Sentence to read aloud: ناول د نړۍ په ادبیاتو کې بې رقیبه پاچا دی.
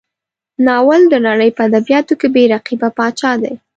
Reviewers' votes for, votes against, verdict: 2, 0, accepted